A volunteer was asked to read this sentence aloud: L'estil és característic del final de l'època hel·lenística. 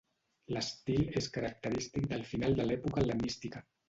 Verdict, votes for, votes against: rejected, 1, 2